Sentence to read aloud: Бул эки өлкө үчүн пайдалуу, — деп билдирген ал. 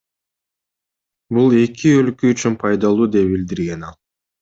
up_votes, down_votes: 1, 2